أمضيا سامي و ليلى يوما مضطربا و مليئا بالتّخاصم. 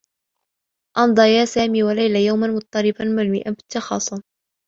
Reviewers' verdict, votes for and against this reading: rejected, 1, 2